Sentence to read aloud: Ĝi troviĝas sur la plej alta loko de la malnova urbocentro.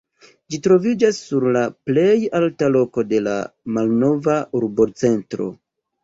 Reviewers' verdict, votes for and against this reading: accepted, 2, 0